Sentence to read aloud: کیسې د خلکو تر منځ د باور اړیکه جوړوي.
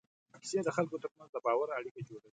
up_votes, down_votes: 2, 1